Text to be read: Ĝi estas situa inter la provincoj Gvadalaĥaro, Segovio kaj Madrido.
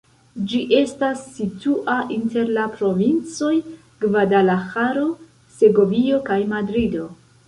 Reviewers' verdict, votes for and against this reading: rejected, 0, 2